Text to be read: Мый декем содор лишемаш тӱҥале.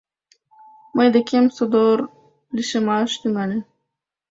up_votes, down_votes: 3, 0